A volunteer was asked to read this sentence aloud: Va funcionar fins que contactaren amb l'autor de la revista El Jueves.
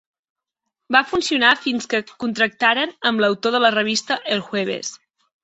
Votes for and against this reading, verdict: 1, 2, rejected